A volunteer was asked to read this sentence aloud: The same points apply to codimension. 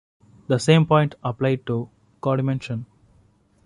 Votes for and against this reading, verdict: 0, 2, rejected